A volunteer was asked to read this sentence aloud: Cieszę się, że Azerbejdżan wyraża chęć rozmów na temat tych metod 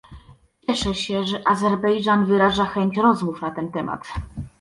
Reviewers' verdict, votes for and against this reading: rejected, 0, 2